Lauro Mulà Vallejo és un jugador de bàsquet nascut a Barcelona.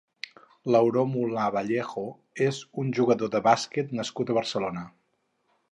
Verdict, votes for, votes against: rejected, 2, 2